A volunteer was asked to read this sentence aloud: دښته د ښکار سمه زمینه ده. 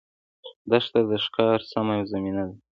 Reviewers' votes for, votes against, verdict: 2, 0, accepted